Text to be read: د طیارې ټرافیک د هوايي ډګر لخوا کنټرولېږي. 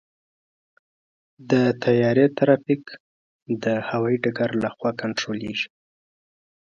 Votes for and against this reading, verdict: 2, 0, accepted